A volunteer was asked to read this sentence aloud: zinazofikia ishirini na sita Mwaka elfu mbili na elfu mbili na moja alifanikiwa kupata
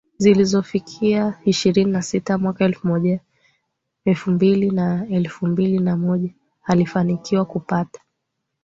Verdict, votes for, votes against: accepted, 2, 0